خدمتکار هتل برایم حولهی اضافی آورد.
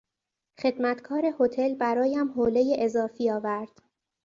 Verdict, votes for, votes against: accepted, 2, 0